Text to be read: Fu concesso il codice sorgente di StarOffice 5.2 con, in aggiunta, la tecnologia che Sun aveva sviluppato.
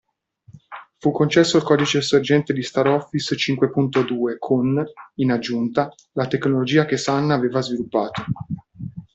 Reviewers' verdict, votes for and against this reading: rejected, 0, 2